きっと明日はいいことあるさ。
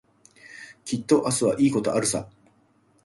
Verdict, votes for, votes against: rejected, 1, 2